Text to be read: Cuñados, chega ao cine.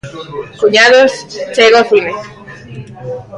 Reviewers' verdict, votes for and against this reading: accepted, 2, 0